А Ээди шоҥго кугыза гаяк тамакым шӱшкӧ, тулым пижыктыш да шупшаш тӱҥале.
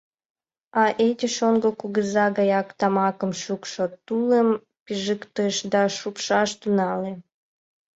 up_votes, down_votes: 3, 6